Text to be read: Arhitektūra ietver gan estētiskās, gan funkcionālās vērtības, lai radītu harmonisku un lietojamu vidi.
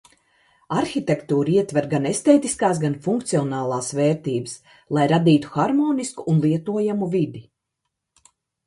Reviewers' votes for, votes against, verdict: 2, 0, accepted